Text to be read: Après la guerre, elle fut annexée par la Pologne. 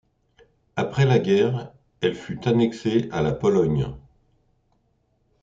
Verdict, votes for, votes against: rejected, 0, 2